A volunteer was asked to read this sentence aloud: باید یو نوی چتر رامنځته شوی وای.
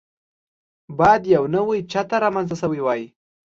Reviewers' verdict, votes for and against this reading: accepted, 2, 0